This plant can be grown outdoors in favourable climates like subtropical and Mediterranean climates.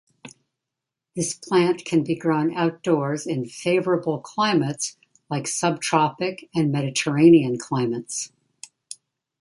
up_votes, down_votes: 1, 2